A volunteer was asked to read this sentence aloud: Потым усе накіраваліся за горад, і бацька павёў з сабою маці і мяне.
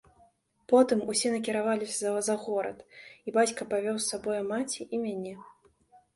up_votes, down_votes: 2, 0